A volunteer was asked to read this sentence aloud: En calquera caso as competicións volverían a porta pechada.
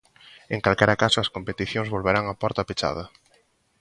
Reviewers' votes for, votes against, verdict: 1, 2, rejected